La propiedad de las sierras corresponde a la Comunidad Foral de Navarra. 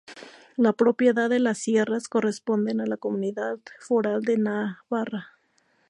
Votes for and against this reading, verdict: 0, 2, rejected